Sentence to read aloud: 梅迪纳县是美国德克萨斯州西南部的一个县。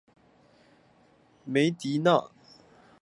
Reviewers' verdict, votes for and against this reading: rejected, 0, 2